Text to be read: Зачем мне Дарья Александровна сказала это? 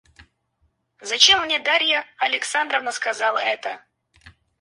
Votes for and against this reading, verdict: 0, 4, rejected